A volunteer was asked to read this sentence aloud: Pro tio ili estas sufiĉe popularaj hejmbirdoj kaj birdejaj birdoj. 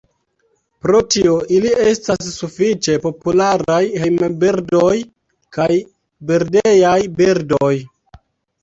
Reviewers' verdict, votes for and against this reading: accepted, 2, 1